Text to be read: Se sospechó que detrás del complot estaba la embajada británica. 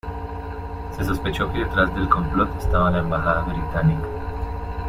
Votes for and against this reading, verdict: 0, 2, rejected